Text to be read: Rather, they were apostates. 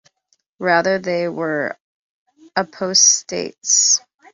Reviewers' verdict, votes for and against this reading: accepted, 2, 0